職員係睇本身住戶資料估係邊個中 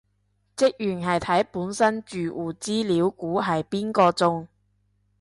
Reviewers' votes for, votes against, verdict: 2, 0, accepted